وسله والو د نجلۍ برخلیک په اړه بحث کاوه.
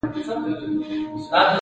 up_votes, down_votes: 0, 2